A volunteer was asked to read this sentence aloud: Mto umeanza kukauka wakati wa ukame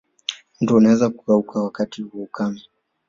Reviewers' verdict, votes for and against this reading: accepted, 2, 1